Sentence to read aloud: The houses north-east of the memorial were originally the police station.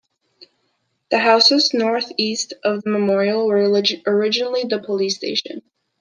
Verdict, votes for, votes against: accepted, 2, 1